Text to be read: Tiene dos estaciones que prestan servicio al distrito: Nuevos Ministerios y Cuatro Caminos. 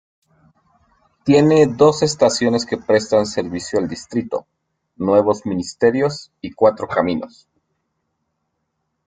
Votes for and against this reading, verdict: 2, 0, accepted